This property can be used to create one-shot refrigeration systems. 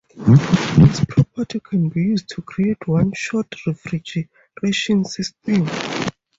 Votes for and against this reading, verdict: 2, 2, rejected